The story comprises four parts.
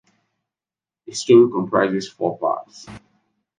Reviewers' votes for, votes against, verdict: 2, 1, accepted